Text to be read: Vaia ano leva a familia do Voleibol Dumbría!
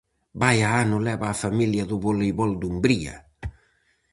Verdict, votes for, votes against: accepted, 4, 0